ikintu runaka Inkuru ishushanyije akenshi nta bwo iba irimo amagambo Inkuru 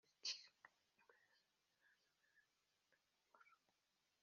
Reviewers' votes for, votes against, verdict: 1, 2, rejected